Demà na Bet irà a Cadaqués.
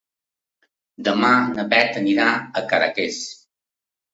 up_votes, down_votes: 1, 2